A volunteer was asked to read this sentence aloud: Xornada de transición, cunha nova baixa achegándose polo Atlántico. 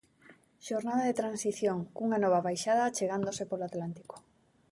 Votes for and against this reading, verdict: 0, 2, rejected